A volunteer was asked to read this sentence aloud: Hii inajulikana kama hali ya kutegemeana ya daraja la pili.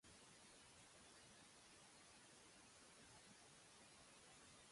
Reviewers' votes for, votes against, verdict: 0, 2, rejected